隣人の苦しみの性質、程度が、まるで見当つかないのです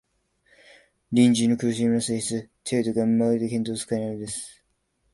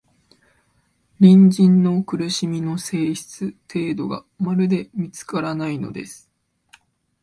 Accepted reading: first